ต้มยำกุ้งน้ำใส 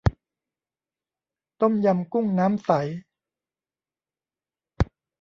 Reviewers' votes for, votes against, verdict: 0, 2, rejected